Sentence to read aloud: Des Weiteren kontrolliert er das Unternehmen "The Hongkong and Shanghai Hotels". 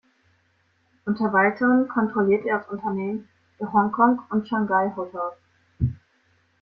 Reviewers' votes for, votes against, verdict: 0, 2, rejected